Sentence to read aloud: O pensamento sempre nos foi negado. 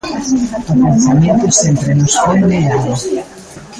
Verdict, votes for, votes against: rejected, 0, 2